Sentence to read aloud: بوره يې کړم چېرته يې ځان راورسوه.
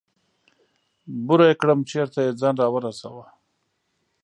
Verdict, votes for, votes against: accepted, 2, 0